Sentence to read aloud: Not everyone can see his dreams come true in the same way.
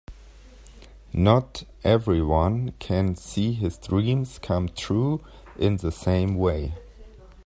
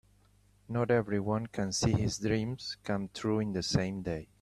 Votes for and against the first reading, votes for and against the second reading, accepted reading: 2, 0, 1, 2, first